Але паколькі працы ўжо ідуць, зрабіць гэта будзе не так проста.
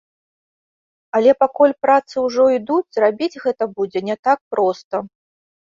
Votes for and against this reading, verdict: 0, 2, rejected